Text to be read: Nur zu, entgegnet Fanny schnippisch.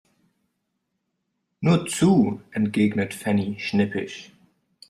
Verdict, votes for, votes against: rejected, 1, 2